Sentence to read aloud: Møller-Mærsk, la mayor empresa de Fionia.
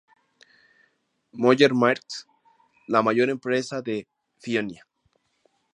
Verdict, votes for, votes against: rejected, 0, 2